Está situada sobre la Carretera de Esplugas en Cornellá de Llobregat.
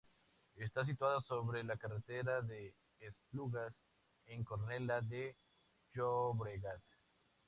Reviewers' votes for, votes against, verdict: 2, 0, accepted